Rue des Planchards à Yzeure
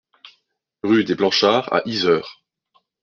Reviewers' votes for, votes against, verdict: 2, 0, accepted